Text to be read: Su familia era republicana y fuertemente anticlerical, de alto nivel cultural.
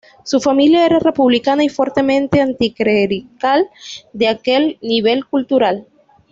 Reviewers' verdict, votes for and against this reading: rejected, 1, 2